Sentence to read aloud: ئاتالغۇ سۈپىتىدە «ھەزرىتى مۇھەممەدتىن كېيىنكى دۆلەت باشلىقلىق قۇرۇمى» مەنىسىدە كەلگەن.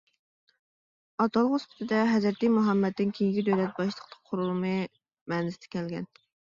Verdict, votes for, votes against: rejected, 0, 2